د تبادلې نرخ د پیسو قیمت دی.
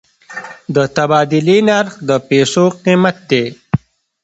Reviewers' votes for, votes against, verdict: 2, 0, accepted